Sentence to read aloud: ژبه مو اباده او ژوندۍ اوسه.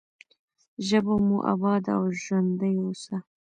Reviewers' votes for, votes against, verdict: 0, 2, rejected